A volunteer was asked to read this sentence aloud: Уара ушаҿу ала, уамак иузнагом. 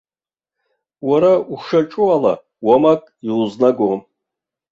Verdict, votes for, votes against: rejected, 0, 2